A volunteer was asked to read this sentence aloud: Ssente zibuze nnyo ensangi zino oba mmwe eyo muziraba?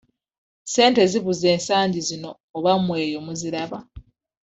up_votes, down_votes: 1, 2